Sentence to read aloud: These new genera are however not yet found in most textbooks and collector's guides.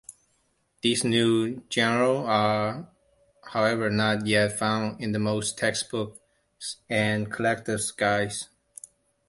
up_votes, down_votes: 0, 2